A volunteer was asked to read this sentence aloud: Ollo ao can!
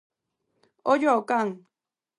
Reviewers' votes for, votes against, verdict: 4, 0, accepted